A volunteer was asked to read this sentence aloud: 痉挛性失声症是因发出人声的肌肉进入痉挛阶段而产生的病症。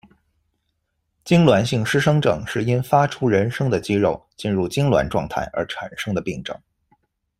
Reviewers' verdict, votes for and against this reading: accepted, 3, 0